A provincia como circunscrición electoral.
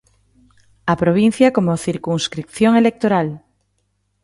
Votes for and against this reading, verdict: 2, 1, accepted